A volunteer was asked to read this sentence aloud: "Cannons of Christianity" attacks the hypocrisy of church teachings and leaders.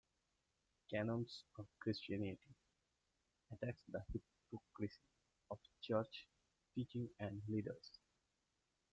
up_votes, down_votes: 0, 2